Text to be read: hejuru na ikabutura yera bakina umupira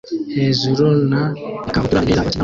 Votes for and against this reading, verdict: 0, 2, rejected